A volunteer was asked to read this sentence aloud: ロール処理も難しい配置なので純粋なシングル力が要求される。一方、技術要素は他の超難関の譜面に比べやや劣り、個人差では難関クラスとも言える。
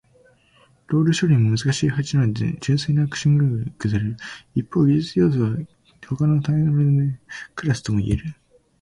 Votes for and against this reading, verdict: 0, 2, rejected